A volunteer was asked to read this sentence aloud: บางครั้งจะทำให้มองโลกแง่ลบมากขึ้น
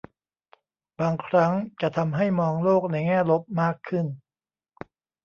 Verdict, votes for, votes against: rejected, 1, 2